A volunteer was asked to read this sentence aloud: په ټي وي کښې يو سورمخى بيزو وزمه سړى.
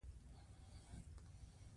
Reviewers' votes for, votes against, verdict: 1, 2, rejected